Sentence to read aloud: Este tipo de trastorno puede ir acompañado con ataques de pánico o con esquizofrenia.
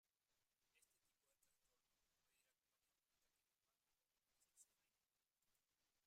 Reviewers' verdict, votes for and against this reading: rejected, 0, 2